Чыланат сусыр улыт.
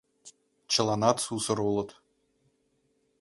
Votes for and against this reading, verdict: 2, 0, accepted